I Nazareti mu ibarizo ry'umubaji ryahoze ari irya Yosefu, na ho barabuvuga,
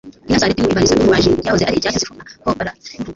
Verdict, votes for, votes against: rejected, 1, 2